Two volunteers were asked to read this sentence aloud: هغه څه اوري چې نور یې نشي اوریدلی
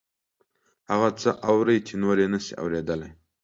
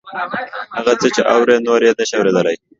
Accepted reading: first